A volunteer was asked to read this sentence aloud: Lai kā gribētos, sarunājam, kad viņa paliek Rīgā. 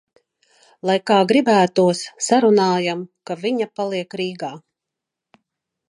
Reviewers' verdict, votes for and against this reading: rejected, 1, 2